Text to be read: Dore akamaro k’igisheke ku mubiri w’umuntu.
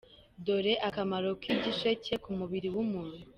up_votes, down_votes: 2, 0